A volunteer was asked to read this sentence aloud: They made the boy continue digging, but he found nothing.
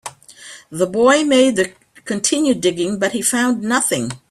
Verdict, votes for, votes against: rejected, 1, 2